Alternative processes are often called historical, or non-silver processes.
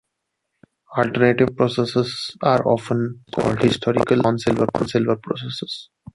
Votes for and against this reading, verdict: 0, 2, rejected